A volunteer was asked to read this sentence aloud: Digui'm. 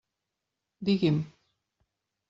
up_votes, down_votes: 3, 1